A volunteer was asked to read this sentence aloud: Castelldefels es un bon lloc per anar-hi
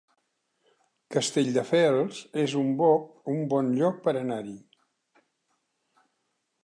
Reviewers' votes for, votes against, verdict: 0, 2, rejected